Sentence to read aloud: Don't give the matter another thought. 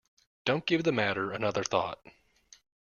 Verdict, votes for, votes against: accepted, 2, 0